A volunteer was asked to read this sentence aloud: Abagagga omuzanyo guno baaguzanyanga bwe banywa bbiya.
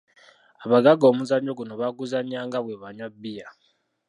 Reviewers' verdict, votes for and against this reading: rejected, 1, 2